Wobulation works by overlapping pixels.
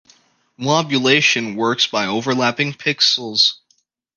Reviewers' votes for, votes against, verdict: 2, 0, accepted